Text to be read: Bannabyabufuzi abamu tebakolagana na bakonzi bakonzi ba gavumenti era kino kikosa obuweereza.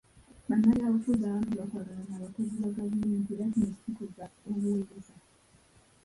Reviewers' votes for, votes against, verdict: 0, 2, rejected